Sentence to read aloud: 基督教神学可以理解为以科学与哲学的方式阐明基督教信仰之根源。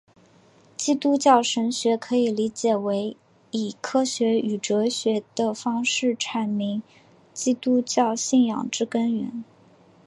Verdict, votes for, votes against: accepted, 2, 0